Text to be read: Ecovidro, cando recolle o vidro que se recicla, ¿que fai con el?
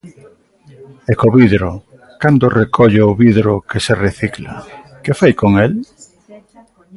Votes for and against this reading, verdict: 2, 1, accepted